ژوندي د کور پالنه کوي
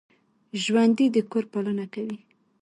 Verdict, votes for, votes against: rejected, 1, 2